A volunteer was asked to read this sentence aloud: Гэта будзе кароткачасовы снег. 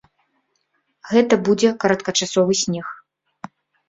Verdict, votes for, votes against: accepted, 2, 0